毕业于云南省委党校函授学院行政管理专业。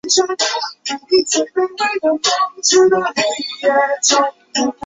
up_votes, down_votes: 1, 2